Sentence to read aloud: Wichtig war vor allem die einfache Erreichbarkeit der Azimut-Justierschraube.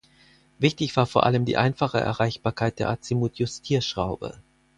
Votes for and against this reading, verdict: 4, 0, accepted